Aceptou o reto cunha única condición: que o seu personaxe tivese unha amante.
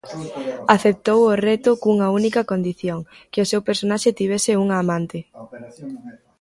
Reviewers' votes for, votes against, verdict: 2, 0, accepted